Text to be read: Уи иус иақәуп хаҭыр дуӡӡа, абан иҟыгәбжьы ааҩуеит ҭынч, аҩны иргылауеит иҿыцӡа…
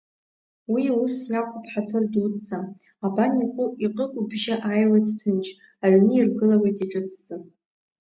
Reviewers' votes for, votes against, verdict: 1, 2, rejected